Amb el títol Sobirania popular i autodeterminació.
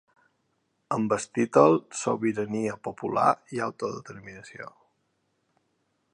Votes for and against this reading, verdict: 2, 3, rejected